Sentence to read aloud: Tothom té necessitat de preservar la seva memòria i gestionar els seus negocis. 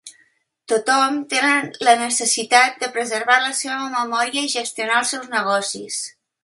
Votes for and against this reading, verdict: 0, 2, rejected